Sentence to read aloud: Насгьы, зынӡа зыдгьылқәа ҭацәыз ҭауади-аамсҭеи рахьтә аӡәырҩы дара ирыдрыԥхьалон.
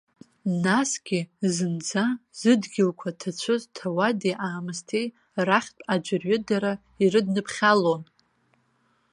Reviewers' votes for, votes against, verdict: 1, 2, rejected